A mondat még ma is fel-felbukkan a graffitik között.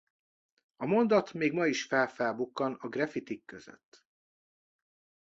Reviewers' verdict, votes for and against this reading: accepted, 2, 0